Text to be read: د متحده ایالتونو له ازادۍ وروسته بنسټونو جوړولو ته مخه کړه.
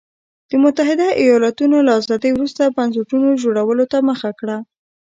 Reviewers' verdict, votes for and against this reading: accepted, 2, 0